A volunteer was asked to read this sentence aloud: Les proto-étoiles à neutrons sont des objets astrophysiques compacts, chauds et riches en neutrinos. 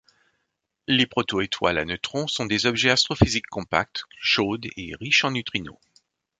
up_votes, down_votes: 1, 2